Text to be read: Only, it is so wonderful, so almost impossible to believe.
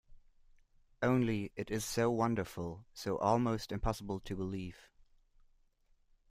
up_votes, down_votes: 2, 0